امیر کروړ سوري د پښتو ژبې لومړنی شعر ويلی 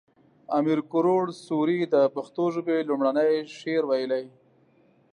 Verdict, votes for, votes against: accepted, 2, 0